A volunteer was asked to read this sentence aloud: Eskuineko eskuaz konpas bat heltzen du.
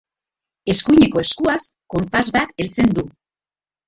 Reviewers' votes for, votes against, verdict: 2, 1, accepted